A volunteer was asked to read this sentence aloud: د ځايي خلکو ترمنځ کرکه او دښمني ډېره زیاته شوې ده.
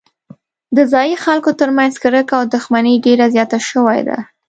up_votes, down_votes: 1, 2